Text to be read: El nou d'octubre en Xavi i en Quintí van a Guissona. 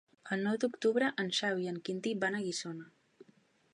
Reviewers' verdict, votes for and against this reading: accepted, 3, 0